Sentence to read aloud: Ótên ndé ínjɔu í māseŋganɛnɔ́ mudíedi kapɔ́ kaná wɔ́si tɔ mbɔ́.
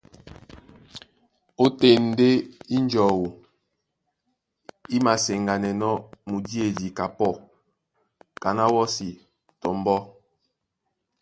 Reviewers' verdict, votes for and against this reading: accepted, 2, 0